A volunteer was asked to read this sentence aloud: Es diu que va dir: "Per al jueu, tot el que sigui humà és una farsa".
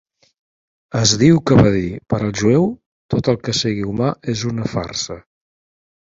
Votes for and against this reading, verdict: 3, 0, accepted